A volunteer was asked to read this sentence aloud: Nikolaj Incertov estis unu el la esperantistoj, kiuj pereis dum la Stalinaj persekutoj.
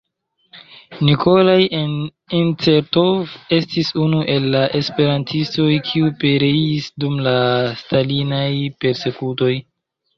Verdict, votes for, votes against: rejected, 1, 2